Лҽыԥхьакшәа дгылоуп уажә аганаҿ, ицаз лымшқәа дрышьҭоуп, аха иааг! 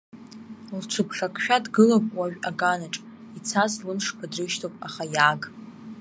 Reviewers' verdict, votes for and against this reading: rejected, 1, 2